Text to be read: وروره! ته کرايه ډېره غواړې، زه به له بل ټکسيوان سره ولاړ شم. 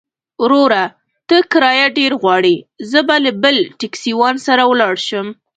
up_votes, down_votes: 2, 0